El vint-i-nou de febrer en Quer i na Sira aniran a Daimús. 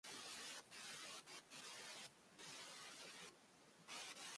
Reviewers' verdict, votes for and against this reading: rejected, 0, 2